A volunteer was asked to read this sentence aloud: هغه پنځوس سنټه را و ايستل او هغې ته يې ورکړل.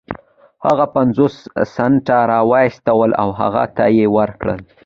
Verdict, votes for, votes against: accepted, 2, 0